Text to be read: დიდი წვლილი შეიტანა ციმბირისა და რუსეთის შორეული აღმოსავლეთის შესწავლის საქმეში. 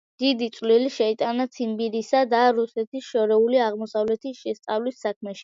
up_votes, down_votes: 2, 1